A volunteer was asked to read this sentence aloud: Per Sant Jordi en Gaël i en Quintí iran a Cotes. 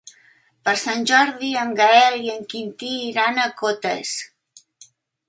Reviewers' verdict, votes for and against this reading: accepted, 3, 0